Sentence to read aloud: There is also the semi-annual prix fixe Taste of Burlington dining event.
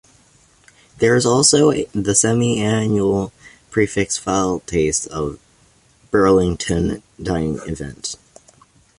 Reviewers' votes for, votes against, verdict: 2, 1, accepted